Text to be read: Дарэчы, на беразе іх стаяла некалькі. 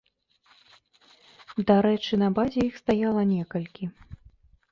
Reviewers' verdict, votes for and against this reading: rejected, 0, 2